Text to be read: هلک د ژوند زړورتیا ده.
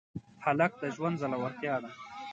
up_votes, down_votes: 2, 0